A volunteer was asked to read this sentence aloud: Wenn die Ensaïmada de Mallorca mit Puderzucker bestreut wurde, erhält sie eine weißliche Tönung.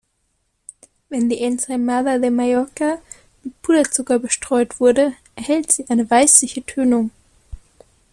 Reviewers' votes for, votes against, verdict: 2, 0, accepted